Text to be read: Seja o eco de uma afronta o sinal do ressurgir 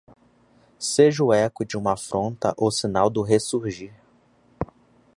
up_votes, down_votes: 2, 0